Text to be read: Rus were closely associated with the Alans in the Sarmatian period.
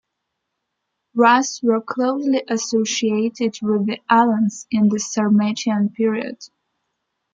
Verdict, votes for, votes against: accepted, 2, 1